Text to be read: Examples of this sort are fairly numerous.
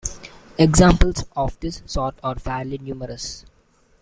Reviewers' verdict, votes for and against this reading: accepted, 2, 1